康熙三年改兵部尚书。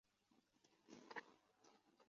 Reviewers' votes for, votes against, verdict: 0, 2, rejected